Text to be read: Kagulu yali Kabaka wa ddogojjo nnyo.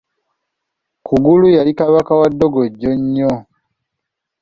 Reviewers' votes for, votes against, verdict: 0, 2, rejected